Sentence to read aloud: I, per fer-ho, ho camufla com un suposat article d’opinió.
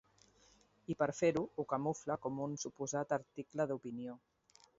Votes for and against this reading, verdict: 2, 0, accepted